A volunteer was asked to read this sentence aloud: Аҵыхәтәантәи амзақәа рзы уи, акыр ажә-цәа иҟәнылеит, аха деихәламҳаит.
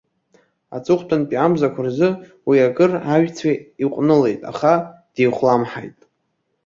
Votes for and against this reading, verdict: 2, 1, accepted